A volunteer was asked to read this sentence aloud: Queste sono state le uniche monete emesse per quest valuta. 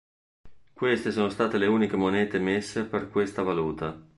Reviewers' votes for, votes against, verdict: 0, 2, rejected